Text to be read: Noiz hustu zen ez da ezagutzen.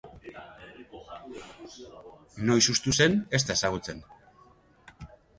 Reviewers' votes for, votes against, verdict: 1, 2, rejected